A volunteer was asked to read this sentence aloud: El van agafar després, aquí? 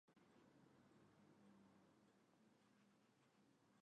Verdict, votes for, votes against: rejected, 1, 3